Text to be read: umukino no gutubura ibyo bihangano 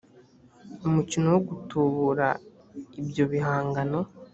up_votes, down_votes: 1, 2